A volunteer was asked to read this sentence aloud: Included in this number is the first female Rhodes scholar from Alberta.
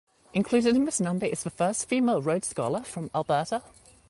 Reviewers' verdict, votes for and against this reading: accepted, 2, 0